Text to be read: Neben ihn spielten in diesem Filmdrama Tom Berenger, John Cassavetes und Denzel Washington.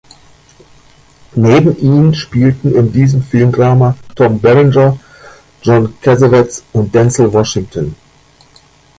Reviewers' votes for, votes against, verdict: 1, 2, rejected